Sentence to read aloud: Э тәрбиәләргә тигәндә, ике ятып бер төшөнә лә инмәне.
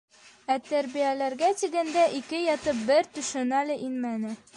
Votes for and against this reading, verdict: 1, 2, rejected